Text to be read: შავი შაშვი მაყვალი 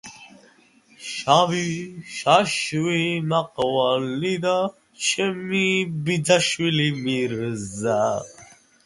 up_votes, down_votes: 1, 2